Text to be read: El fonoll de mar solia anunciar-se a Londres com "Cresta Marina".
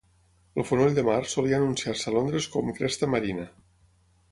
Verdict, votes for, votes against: accepted, 6, 3